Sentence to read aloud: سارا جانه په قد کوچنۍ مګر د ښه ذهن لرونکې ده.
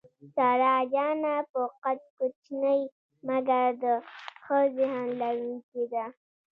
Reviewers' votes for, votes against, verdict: 1, 2, rejected